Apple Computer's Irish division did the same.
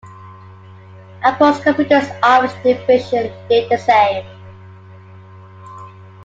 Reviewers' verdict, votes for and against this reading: rejected, 1, 2